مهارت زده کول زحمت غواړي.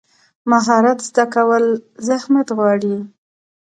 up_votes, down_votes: 2, 0